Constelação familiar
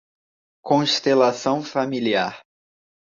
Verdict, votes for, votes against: accepted, 2, 0